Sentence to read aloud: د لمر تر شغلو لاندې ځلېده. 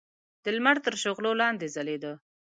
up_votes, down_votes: 2, 0